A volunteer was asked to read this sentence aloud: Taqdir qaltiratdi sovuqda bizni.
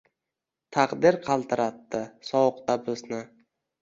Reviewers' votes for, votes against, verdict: 1, 2, rejected